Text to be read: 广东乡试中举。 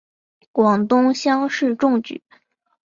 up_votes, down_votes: 8, 0